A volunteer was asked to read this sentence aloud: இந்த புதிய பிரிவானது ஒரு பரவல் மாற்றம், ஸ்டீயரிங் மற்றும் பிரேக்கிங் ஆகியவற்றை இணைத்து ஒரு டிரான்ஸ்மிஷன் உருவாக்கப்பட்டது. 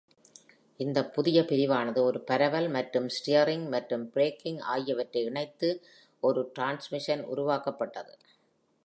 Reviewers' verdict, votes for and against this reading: accepted, 2, 0